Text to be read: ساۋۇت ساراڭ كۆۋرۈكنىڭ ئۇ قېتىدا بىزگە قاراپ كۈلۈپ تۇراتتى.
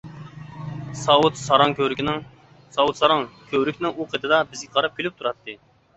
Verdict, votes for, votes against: rejected, 0, 2